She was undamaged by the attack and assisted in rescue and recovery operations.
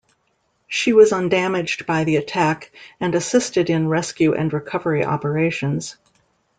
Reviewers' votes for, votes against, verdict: 2, 0, accepted